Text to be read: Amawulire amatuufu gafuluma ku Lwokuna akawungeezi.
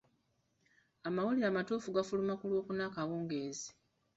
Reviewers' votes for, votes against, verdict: 2, 1, accepted